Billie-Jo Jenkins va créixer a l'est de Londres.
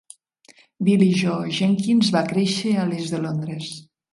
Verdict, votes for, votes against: accepted, 2, 0